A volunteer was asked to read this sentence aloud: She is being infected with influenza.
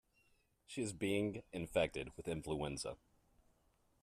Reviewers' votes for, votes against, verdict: 2, 1, accepted